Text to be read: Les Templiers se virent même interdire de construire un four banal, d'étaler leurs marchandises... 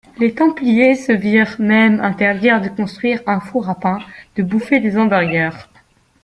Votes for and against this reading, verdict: 0, 3, rejected